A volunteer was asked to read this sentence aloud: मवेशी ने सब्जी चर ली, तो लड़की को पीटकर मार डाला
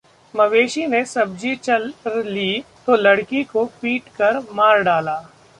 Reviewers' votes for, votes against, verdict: 0, 2, rejected